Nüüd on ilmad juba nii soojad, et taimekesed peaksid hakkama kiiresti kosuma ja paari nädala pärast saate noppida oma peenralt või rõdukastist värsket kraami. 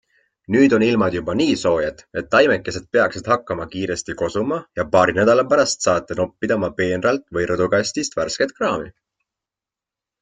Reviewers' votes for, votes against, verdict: 2, 0, accepted